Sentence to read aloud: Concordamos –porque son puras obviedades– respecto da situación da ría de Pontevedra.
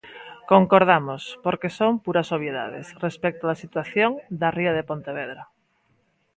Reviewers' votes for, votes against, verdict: 1, 2, rejected